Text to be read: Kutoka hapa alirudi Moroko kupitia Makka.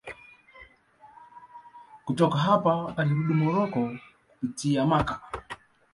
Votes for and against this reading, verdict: 2, 0, accepted